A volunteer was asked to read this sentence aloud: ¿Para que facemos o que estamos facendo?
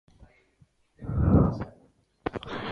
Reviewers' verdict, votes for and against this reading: rejected, 0, 2